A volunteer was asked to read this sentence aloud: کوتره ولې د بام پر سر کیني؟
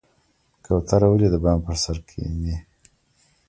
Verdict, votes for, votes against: accepted, 2, 0